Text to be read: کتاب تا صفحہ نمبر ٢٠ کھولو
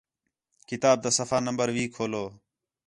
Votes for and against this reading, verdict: 0, 2, rejected